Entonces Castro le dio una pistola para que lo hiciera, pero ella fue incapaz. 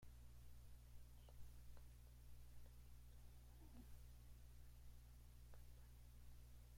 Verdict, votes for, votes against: rejected, 0, 2